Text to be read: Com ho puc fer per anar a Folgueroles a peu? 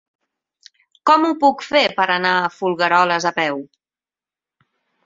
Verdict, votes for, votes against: accepted, 8, 0